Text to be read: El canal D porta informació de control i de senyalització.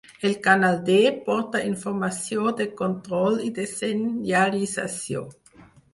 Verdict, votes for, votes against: accepted, 4, 2